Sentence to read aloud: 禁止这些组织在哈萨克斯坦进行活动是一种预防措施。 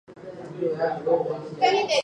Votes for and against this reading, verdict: 0, 2, rejected